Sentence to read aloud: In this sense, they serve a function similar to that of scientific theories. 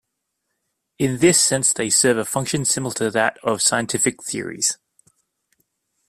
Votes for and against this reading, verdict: 2, 0, accepted